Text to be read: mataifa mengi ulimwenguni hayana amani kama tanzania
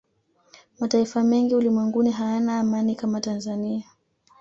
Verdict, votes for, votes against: accepted, 2, 0